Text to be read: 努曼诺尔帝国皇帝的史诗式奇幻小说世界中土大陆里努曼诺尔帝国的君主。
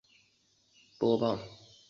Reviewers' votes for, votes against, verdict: 0, 4, rejected